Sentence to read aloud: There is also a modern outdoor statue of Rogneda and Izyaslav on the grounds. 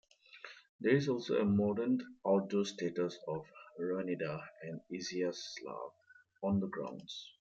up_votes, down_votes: 0, 2